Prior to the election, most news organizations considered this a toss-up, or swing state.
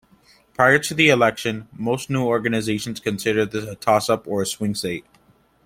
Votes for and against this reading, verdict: 0, 2, rejected